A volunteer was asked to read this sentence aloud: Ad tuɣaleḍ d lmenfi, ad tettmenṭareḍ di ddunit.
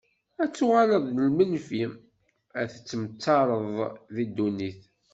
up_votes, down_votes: 0, 2